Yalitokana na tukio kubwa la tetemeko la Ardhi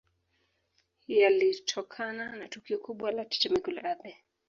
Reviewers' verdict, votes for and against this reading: rejected, 2, 3